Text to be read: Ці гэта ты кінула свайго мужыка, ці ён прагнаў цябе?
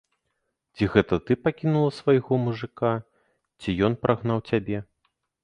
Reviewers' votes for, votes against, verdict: 0, 2, rejected